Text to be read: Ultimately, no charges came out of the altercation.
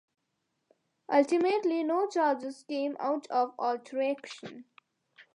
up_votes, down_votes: 0, 2